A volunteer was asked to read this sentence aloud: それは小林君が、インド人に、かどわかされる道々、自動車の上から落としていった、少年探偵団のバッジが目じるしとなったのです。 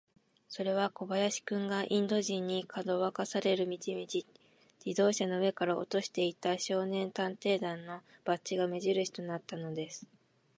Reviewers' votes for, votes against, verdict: 2, 0, accepted